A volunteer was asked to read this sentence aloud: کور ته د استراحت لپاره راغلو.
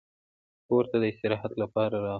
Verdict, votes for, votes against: rejected, 0, 2